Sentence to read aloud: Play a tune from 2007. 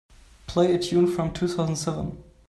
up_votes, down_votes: 0, 2